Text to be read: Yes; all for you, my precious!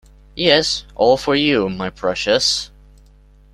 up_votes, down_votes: 2, 0